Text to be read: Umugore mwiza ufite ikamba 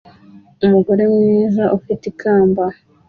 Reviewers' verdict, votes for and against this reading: accepted, 2, 0